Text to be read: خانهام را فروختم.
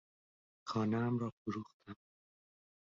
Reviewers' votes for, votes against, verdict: 4, 0, accepted